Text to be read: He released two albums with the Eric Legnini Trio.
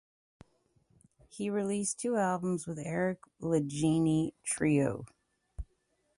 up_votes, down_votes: 0, 2